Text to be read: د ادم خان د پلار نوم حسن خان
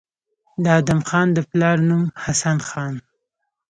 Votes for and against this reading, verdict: 2, 0, accepted